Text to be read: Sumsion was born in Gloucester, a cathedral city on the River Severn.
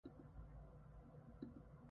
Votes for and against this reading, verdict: 0, 2, rejected